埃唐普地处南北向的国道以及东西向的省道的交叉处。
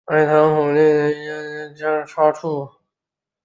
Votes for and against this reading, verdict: 1, 9, rejected